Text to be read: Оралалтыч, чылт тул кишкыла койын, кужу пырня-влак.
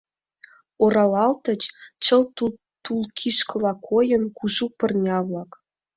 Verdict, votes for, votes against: rejected, 1, 2